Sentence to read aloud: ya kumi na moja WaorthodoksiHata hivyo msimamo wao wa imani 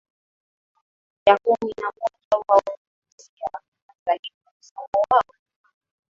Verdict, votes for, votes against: rejected, 2, 6